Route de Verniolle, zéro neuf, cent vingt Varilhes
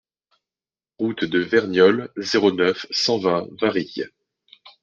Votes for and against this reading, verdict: 2, 0, accepted